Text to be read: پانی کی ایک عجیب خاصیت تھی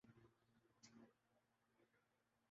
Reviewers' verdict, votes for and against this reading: rejected, 0, 3